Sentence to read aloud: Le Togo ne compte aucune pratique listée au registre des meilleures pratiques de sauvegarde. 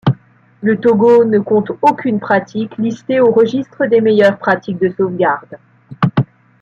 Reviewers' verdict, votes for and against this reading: accepted, 2, 0